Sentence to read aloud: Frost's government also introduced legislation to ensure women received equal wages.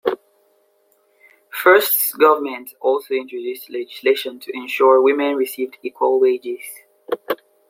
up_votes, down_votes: 7, 5